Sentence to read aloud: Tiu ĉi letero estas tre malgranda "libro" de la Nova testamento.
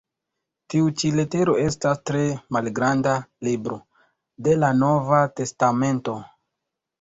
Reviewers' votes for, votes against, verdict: 2, 1, accepted